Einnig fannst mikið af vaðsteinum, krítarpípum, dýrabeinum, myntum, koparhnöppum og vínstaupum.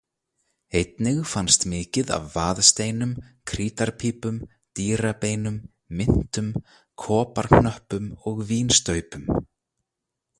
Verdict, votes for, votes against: rejected, 0, 2